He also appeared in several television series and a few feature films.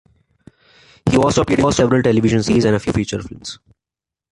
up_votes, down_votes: 1, 2